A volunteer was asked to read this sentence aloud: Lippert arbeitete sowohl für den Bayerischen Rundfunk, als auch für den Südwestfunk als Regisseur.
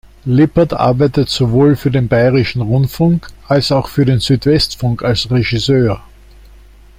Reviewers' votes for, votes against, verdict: 0, 2, rejected